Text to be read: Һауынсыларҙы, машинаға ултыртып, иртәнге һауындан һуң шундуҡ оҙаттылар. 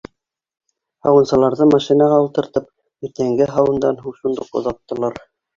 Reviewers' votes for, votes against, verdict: 2, 1, accepted